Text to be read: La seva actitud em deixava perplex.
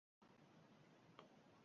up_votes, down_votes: 0, 2